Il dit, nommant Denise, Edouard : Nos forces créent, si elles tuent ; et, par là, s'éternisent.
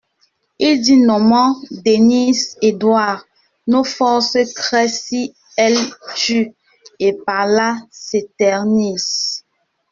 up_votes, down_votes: 0, 2